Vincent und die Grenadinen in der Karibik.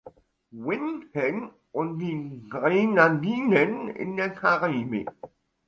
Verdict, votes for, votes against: rejected, 1, 2